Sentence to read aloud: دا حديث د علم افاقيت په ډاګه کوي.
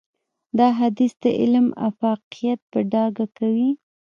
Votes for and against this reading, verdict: 1, 2, rejected